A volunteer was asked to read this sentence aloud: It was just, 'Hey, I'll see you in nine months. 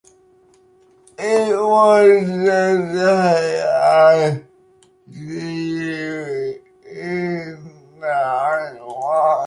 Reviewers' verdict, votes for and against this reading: accepted, 2, 0